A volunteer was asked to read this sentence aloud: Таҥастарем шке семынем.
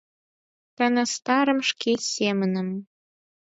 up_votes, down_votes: 0, 4